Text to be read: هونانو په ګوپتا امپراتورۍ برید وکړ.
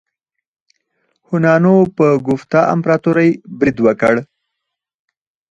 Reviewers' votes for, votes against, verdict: 0, 4, rejected